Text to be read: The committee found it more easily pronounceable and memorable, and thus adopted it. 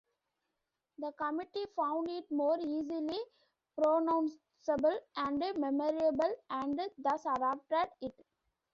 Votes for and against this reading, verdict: 1, 2, rejected